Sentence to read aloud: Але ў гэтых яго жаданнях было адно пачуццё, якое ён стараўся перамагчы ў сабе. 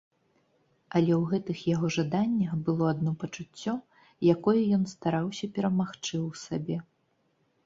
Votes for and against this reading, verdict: 2, 0, accepted